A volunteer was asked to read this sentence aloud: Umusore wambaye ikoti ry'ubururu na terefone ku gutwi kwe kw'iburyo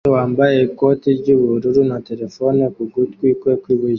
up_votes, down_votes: 1, 2